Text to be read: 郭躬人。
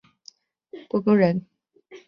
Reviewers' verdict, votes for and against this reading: accepted, 2, 0